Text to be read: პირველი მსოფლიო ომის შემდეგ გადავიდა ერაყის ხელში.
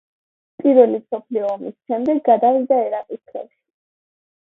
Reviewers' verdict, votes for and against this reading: rejected, 1, 2